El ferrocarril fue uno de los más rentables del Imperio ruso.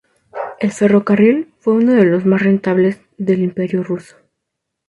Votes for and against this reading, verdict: 2, 0, accepted